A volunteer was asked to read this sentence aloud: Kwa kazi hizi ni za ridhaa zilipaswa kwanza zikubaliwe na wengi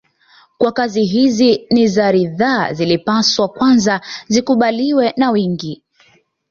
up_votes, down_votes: 2, 0